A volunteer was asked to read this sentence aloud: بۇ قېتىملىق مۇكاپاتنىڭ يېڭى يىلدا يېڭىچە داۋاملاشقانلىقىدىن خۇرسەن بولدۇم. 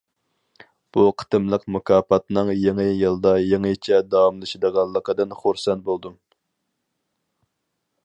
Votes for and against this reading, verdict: 0, 4, rejected